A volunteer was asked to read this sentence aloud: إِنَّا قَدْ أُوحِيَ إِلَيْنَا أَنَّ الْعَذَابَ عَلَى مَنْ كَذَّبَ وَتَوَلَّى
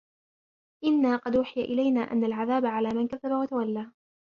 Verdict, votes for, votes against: rejected, 1, 2